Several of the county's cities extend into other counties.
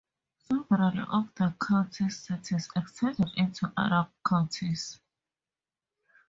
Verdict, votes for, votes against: rejected, 0, 4